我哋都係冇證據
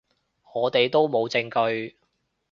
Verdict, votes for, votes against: rejected, 0, 2